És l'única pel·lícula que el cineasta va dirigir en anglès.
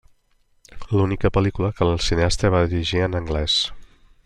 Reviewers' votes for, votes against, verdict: 0, 2, rejected